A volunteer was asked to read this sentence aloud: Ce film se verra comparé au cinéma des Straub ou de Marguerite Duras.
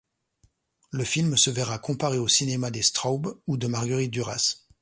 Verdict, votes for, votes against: rejected, 1, 2